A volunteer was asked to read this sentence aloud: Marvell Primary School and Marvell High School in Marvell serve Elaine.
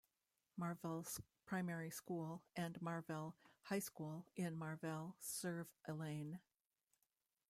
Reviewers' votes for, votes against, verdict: 0, 2, rejected